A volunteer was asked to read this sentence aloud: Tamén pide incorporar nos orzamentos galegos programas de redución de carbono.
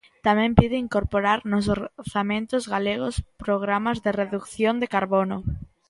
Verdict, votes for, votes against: rejected, 1, 2